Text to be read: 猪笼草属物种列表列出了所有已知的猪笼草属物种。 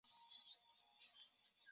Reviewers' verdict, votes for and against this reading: rejected, 0, 2